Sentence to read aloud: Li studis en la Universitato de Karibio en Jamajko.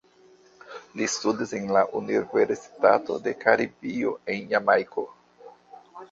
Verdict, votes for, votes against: rejected, 0, 2